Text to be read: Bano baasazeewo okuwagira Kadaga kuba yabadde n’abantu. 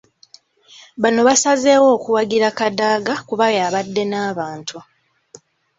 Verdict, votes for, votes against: accepted, 2, 0